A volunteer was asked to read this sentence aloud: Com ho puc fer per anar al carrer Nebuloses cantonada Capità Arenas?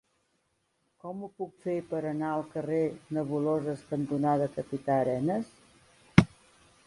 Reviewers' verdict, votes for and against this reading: rejected, 0, 2